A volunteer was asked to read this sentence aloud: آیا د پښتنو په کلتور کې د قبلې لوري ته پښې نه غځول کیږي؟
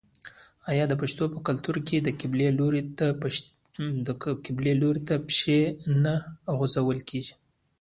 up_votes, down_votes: 0, 2